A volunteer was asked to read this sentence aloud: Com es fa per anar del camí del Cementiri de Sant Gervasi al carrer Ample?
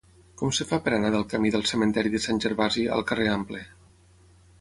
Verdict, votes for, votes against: rejected, 3, 6